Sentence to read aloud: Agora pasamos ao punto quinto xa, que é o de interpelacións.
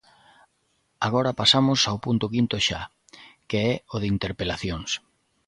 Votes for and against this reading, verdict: 2, 0, accepted